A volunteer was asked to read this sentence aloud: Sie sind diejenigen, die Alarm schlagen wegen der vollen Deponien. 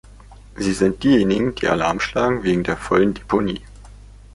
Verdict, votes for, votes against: rejected, 1, 2